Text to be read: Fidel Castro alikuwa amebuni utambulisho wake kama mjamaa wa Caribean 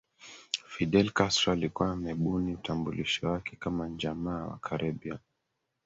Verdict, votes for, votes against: rejected, 0, 2